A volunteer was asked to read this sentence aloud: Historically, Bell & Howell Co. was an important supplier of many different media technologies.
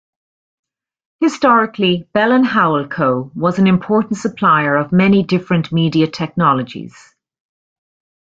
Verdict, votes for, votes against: rejected, 0, 2